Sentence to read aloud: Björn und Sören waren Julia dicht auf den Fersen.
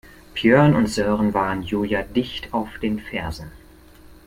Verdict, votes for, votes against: accepted, 2, 0